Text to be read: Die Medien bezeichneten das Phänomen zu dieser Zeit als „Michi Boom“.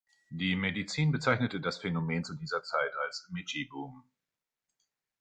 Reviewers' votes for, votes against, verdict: 0, 2, rejected